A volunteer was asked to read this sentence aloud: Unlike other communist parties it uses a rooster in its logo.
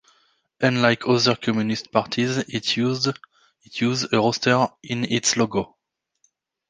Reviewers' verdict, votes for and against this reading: rejected, 0, 2